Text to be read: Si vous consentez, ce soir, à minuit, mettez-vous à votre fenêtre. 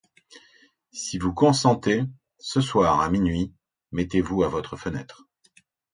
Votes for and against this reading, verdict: 2, 0, accepted